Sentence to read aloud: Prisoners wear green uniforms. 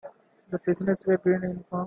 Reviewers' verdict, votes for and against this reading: rejected, 0, 2